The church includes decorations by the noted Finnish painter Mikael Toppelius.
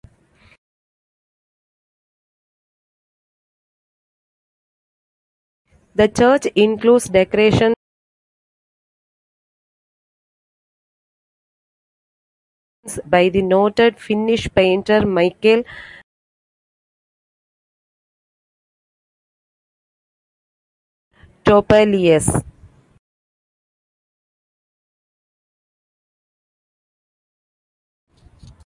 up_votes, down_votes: 0, 2